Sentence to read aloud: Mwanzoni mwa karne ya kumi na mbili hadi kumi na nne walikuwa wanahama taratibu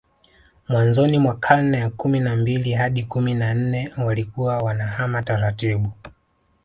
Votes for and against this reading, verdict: 2, 0, accepted